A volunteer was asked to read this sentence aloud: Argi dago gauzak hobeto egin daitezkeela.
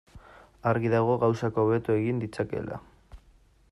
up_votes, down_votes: 0, 2